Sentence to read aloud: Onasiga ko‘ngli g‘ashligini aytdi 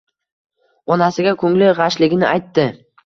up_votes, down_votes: 2, 0